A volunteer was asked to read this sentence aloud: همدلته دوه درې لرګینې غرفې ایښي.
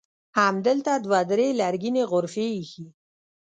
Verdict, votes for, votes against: rejected, 1, 2